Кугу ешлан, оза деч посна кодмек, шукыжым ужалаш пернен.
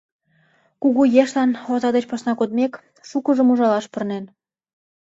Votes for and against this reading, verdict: 1, 2, rejected